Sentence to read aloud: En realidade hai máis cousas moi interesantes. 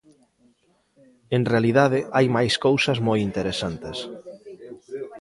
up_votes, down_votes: 2, 1